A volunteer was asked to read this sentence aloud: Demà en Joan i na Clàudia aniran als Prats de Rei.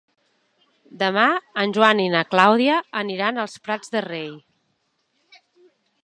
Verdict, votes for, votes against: accepted, 2, 0